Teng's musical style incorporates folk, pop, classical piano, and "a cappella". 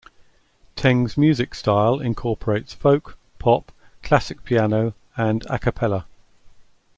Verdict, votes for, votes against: accepted, 2, 0